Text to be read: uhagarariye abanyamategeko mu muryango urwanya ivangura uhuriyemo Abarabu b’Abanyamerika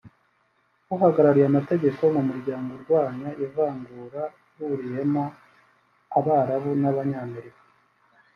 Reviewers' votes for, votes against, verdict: 1, 2, rejected